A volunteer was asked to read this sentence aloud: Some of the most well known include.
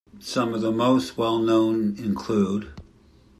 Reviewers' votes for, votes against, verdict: 2, 0, accepted